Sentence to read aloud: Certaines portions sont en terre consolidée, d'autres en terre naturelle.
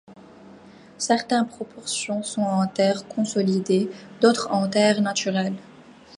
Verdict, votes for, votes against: rejected, 1, 2